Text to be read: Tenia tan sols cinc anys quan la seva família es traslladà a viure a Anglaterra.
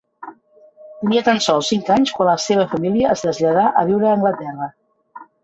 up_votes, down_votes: 0, 2